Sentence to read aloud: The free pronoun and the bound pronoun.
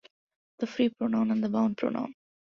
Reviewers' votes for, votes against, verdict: 2, 0, accepted